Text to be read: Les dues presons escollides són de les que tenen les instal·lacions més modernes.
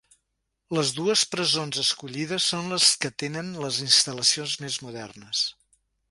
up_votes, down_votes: 0, 2